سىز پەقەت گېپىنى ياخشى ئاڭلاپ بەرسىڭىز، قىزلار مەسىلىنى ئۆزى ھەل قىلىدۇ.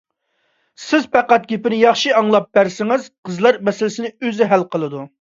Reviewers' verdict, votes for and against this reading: rejected, 0, 2